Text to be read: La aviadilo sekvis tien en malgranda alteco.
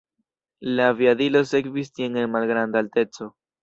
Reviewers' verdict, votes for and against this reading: accepted, 2, 0